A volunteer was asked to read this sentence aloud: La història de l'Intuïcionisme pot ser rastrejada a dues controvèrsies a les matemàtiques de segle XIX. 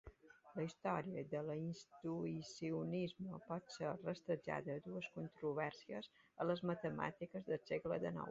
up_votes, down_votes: 2, 1